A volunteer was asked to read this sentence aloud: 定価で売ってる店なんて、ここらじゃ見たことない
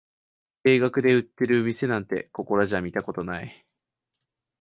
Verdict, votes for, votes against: rejected, 1, 2